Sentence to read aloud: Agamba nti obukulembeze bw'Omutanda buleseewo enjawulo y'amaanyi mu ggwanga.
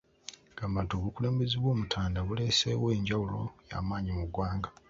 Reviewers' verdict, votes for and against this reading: rejected, 0, 2